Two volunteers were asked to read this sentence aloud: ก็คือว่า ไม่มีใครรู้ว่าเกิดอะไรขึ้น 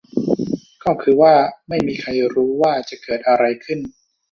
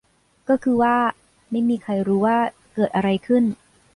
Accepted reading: second